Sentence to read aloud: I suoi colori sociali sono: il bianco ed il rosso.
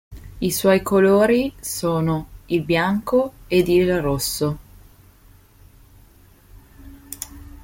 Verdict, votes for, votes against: rejected, 0, 2